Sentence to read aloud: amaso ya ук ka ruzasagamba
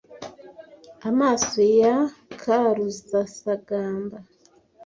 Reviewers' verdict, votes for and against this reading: rejected, 1, 2